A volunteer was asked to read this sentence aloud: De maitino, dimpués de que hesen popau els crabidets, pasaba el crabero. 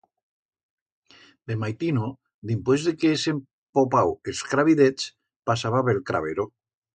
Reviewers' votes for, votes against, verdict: 1, 2, rejected